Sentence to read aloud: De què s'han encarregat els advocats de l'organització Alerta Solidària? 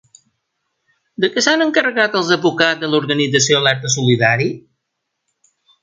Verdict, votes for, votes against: rejected, 0, 2